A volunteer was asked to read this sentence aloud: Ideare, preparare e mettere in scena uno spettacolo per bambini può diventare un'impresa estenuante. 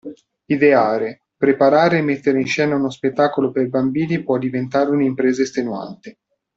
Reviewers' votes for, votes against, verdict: 2, 0, accepted